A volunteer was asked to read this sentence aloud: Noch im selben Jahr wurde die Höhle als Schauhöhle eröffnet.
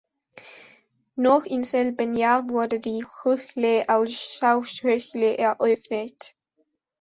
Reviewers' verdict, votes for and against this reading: rejected, 0, 2